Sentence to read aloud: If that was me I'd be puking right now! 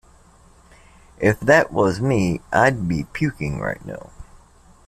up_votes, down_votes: 2, 0